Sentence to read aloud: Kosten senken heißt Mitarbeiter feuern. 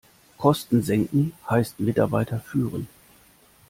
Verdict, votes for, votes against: rejected, 1, 2